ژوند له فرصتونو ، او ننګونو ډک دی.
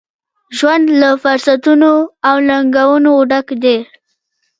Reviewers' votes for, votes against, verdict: 2, 0, accepted